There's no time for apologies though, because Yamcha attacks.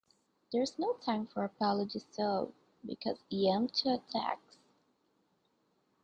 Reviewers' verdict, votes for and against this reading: rejected, 0, 2